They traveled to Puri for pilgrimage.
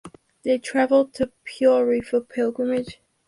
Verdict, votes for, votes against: accepted, 2, 0